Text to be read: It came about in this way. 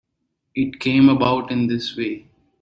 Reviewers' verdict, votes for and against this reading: accepted, 2, 0